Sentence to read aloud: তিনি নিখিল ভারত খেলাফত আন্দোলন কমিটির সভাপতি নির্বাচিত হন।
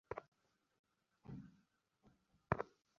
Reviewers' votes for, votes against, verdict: 0, 2, rejected